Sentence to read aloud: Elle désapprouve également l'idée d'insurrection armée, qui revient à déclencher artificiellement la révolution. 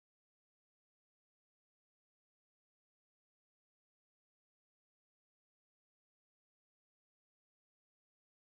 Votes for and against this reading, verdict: 0, 2, rejected